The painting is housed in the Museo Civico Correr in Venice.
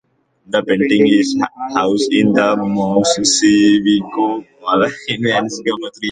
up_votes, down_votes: 0, 2